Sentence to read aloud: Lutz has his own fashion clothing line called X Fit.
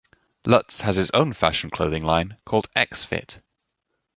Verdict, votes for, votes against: accepted, 2, 0